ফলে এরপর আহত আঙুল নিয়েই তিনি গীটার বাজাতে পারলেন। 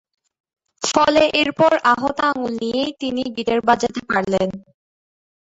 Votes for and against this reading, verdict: 1, 2, rejected